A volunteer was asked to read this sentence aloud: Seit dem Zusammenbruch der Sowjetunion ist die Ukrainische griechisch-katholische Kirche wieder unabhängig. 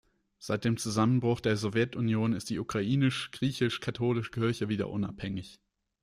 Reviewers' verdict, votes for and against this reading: rejected, 0, 2